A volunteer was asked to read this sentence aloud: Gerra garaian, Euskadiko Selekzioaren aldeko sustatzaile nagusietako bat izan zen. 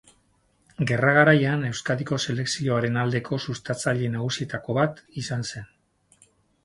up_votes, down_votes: 4, 10